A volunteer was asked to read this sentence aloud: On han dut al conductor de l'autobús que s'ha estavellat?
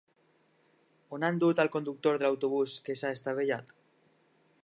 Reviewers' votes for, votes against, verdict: 0, 2, rejected